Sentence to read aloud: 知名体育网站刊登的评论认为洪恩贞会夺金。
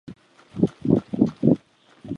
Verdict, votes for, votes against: rejected, 0, 2